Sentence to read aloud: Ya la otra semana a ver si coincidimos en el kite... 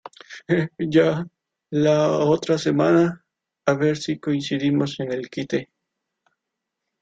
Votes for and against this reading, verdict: 0, 2, rejected